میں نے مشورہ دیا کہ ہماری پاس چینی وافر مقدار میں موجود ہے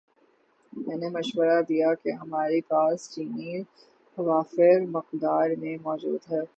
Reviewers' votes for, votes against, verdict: 6, 0, accepted